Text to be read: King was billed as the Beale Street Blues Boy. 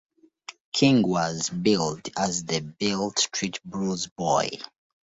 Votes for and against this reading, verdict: 2, 0, accepted